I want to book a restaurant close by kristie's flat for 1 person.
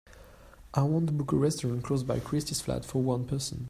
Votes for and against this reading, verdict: 0, 2, rejected